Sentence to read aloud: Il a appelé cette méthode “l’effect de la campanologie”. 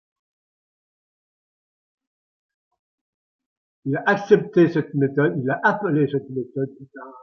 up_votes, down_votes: 0, 2